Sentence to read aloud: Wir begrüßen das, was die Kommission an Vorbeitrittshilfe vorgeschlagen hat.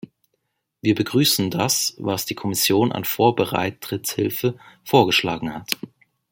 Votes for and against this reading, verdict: 1, 2, rejected